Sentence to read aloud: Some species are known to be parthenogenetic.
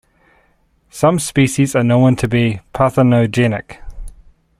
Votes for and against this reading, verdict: 2, 1, accepted